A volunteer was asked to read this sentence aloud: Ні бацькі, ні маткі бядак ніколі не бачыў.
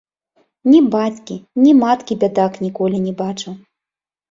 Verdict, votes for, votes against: accepted, 2, 0